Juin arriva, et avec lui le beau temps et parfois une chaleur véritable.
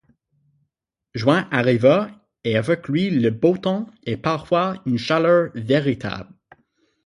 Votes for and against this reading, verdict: 6, 0, accepted